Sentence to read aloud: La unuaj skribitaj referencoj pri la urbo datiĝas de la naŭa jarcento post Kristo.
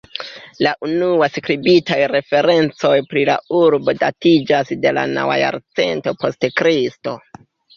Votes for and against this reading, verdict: 0, 2, rejected